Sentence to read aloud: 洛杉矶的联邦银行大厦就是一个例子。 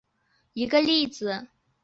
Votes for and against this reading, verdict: 0, 4, rejected